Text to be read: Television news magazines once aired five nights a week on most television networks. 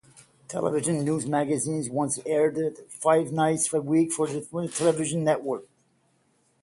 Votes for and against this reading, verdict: 0, 6, rejected